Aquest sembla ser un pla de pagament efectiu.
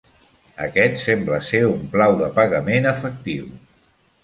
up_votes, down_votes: 2, 0